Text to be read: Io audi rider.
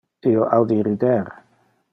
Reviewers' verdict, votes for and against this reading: rejected, 1, 2